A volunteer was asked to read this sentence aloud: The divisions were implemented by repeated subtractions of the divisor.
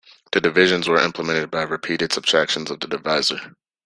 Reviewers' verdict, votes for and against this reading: accepted, 2, 0